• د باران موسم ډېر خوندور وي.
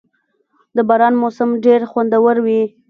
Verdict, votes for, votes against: accepted, 2, 0